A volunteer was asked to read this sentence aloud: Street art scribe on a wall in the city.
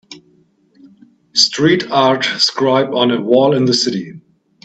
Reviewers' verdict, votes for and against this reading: accepted, 2, 0